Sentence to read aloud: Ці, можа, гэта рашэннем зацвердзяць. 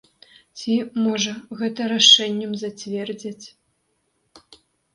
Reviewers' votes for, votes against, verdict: 4, 0, accepted